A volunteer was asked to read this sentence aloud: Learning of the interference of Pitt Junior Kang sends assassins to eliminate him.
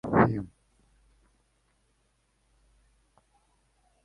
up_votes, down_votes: 0, 2